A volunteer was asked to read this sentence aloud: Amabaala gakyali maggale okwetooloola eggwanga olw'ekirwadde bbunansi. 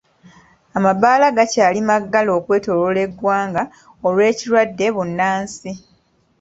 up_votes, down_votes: 1, 2